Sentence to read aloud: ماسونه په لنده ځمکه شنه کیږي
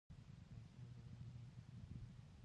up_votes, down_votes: 0, 2